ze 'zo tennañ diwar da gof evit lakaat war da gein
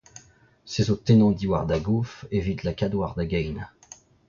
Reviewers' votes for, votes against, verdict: 0, 2, rejected